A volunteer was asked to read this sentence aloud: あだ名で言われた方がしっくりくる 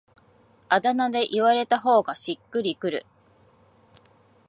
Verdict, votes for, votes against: accepted, 12, 4